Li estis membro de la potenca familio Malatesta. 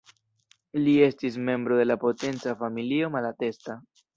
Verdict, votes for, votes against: accepted, 2, 0